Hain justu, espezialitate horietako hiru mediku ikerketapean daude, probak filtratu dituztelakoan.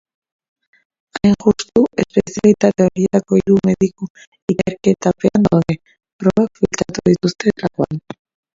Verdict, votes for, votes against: rejected, 0, 2